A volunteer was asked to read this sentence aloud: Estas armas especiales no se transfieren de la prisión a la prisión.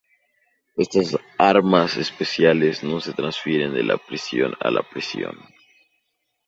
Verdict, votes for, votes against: accepted, 2, 0